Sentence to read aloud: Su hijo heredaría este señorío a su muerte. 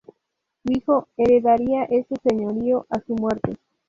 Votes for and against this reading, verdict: 2, 0, accepted